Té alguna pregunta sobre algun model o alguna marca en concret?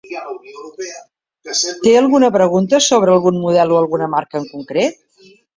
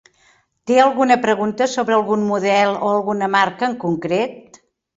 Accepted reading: second